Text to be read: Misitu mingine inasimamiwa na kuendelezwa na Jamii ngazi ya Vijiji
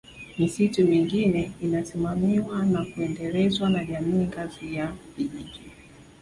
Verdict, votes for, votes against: rejected, 1, 2